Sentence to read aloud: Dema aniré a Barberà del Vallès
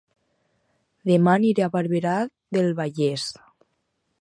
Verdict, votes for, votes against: rejected, 2, 4